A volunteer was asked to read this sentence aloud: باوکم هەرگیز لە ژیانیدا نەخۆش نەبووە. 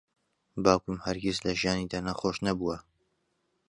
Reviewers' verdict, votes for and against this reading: accepted, 2, 0